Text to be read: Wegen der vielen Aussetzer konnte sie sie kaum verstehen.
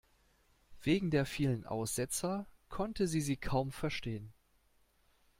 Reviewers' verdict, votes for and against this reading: accepted, 2, 0